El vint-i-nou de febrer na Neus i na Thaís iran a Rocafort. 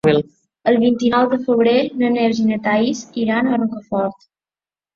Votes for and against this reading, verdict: 3, 0, accepted